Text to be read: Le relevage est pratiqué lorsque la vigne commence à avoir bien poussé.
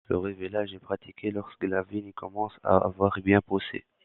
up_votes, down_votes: 1, 2